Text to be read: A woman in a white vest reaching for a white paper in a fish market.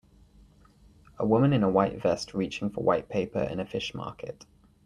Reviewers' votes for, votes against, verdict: 1, 2, rejected